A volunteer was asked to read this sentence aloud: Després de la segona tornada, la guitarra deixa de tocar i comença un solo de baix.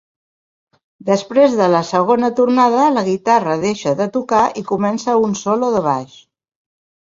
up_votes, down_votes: 3, 0